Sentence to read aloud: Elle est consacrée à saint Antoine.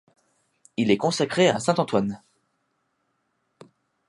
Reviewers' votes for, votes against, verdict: 1, 2, rejected